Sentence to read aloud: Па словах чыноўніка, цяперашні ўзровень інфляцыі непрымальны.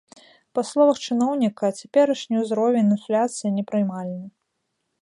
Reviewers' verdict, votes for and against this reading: accepted, 2, 0